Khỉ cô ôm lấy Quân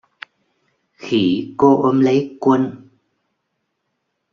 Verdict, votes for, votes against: accepted, 2, 0